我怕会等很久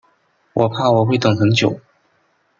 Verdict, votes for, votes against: rejected, 1, 2